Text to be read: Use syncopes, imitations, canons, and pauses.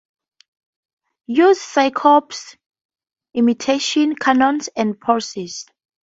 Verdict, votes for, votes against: rejected, 0, 4